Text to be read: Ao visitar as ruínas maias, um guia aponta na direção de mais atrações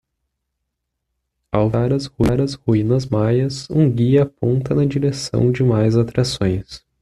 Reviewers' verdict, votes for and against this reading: rejected, 1, 2